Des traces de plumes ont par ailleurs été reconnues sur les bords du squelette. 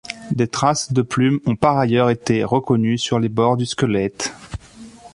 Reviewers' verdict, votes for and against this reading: accepted, 2, 0